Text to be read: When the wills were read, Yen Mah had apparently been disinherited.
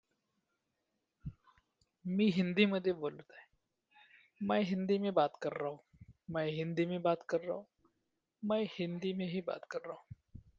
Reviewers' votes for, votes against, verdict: 1, 2, rejected